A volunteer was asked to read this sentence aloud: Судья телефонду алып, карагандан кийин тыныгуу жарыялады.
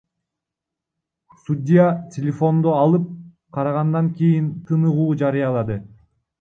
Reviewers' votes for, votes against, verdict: 2, 3, rejected